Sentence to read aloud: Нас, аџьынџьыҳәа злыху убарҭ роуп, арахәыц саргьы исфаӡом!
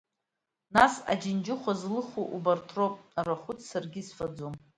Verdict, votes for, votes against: accepted, 2, 0